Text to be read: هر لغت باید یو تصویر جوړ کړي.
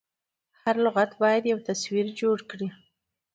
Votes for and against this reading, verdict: 2, 0, accepted